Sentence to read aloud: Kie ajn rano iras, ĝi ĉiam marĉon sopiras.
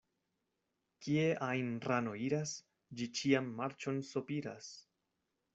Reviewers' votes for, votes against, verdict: 2, 0, accepted